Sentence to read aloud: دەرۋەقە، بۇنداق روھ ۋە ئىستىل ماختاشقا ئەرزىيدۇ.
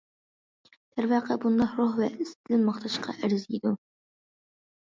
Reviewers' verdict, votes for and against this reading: accepted, 2, 0